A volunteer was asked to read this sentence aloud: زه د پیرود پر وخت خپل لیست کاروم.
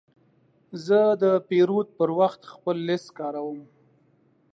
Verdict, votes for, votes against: accepted, 2, 0